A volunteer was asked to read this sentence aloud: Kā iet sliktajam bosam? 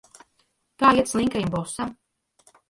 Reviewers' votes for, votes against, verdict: 0, 2, rejected